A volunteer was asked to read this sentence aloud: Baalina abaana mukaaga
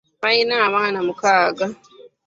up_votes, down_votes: 2, 1